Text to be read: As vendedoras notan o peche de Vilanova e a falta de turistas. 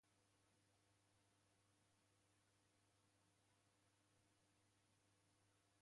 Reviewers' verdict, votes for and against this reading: rejected, 0, 2